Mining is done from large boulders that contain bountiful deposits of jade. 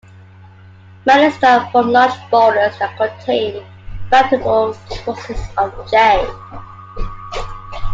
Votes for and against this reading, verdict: 1, 2, rejected